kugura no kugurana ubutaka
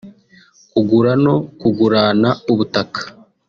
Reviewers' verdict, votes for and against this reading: accepted, 2, 1